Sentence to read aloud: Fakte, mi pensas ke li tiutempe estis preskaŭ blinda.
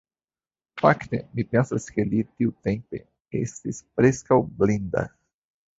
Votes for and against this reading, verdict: 2, 0, accepted